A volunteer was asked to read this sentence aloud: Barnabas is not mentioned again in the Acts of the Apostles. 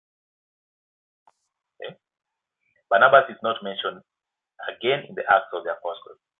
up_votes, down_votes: 2, 1